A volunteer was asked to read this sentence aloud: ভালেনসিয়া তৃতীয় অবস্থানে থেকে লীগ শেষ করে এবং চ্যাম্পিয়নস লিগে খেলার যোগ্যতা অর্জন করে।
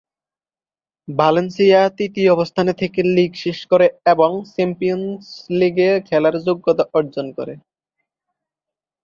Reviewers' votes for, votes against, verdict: 1, 2, rejected